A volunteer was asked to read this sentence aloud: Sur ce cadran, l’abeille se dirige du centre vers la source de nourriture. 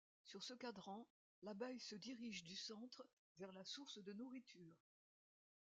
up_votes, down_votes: 2, 0